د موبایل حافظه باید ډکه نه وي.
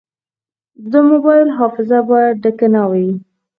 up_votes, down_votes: 2, 4